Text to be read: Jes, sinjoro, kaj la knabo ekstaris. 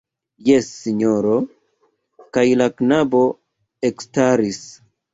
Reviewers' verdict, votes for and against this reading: rejected, 1, 2